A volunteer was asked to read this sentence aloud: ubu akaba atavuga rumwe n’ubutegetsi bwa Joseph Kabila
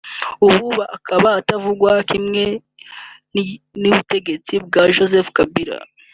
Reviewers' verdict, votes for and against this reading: rejected, 0, 2